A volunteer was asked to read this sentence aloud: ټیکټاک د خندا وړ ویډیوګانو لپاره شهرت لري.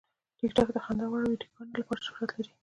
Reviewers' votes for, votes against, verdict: 1, 2, rejected